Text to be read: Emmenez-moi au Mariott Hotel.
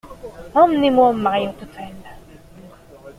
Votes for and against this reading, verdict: 2, 0, accepted